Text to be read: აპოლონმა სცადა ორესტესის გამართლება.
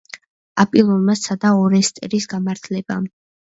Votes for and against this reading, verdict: 0, 2, rejected